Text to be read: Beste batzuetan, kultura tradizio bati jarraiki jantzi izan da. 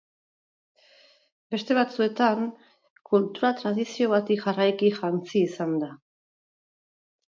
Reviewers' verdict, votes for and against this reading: rejected, 2, 2